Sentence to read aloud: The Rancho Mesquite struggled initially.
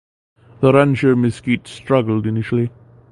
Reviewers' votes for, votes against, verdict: 2, 0, accepted